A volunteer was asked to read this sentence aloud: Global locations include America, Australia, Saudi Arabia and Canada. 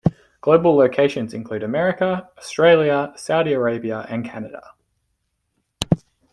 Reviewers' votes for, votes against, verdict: 2, 0, accepted